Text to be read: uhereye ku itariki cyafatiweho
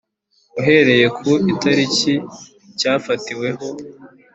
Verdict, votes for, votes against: accepted, 2, 0